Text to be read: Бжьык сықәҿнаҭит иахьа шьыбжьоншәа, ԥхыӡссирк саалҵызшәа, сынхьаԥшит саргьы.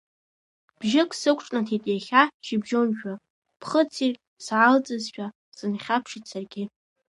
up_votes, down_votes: 2, 0